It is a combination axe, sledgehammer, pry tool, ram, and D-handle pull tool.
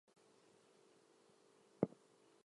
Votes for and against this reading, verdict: 0, 2, rejected